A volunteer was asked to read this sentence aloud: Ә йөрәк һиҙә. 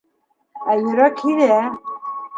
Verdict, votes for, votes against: rejected, 1, 2